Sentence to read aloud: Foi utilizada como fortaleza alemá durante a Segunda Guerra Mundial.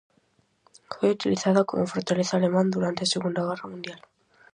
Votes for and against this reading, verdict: 0, 4, rejected